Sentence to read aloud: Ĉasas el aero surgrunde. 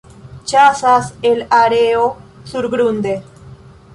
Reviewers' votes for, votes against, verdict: 2, 0, accepted